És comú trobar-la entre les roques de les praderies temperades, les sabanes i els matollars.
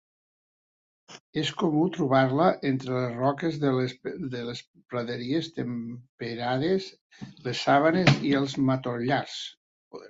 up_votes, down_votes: 0, 2